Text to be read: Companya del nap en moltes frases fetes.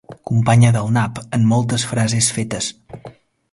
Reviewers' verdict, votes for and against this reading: accepted, 5, 0